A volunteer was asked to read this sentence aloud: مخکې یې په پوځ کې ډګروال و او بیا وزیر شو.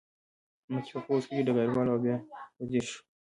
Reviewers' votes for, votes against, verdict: 0, 2, rejected